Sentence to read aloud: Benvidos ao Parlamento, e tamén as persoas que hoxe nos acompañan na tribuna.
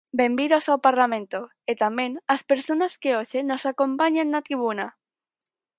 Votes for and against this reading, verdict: 0, 4, rejected